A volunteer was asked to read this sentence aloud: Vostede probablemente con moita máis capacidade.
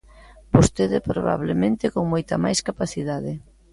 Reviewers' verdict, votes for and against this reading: accepted, 2, 0